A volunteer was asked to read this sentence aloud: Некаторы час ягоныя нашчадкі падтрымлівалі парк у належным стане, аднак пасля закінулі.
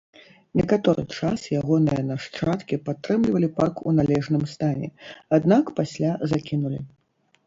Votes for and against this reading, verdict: 1, 2, rejected